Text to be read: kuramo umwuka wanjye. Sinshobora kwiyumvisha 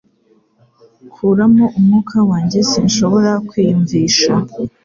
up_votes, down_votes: 4, 0